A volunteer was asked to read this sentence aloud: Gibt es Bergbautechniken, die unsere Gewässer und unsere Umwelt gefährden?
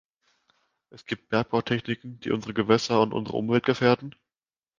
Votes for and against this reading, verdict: 1, 2, rejected